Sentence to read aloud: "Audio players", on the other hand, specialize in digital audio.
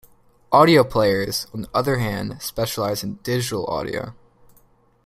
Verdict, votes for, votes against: accepted, 2, 0